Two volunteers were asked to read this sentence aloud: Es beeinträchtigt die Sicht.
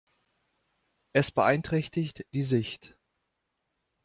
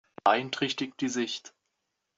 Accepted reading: first